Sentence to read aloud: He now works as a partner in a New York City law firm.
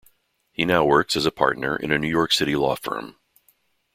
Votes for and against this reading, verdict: 2, 0, accepted